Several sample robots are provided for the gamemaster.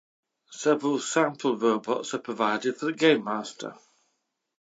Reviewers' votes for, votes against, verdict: 2, 0, accepted